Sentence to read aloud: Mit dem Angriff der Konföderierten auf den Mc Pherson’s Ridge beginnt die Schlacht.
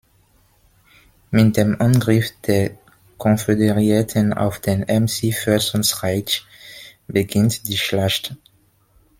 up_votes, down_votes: 0, 2